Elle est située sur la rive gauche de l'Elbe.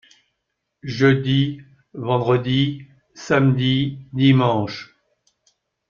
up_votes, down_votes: 0, 2